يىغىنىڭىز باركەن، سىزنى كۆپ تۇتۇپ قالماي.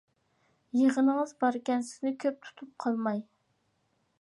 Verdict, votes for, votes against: accepted, 2, 0